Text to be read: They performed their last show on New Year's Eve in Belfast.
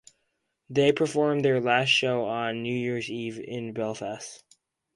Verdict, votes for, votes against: accepted, 4, 0